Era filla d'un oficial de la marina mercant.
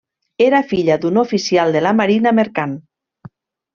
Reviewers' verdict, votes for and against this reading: accepted, 3, 0